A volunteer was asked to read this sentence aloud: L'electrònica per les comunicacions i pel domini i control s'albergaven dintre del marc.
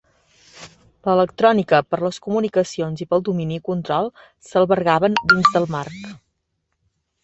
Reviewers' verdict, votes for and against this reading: rejected, 0, 2